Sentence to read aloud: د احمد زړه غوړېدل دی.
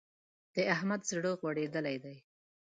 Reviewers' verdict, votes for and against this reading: accepted, 2, 0